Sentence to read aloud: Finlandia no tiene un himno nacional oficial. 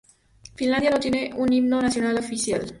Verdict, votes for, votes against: accepted, 2, 0